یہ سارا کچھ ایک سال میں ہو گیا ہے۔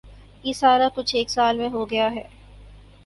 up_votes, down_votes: 6, 0